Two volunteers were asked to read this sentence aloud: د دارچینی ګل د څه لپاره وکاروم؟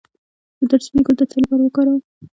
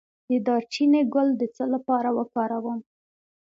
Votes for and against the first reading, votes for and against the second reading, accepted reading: 1, 2, 2, 0, second